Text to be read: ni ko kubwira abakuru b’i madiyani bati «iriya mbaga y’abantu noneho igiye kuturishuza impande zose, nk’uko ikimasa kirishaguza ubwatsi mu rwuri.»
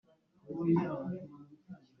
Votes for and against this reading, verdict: 1, 2, rejected